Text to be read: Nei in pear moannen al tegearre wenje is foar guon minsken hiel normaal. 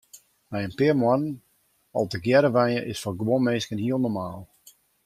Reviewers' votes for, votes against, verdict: 2, 1, accepted